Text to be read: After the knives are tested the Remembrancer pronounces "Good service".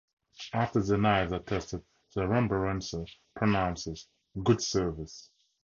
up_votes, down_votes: 2, 0